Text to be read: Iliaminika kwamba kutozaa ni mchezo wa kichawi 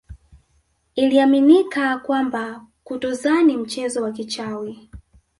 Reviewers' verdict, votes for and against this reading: rejected, 1, 2